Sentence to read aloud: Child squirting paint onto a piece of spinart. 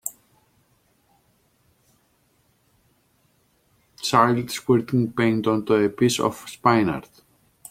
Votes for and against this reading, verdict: 2, 3, rejected